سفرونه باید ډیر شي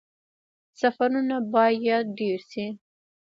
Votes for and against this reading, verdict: 2, 0, accepted